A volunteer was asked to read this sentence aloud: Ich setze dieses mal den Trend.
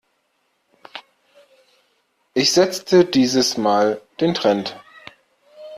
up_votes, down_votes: 0, 2